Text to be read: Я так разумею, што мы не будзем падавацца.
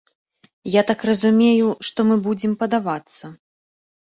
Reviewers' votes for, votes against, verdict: 1, 2, rejected